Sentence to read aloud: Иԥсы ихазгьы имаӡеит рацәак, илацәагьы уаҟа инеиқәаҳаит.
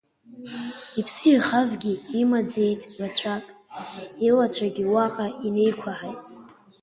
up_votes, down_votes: 1, 2